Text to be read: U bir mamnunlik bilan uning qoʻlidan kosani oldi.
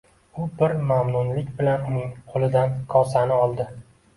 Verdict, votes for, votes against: accepted, 2, 0